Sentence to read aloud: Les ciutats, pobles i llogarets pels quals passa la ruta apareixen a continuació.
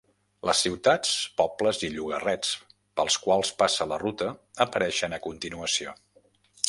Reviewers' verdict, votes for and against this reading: rejected, 0, 2